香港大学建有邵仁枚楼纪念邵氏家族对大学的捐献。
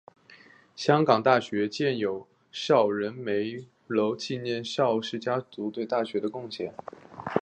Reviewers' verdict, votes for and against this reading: accepted, 2, 0